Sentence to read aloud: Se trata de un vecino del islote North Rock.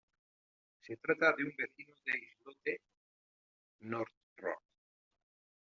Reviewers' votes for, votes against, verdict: 1, 2, rejected